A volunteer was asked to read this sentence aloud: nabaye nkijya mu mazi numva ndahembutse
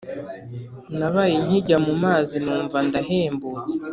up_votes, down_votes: 2, 0